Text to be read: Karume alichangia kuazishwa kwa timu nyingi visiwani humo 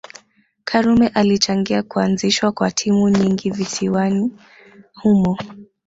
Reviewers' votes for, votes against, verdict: 0, 2, rejected